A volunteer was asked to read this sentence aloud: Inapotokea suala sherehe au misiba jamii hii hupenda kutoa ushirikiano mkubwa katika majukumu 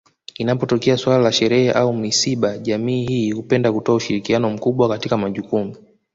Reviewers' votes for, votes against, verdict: 2, 0, accepted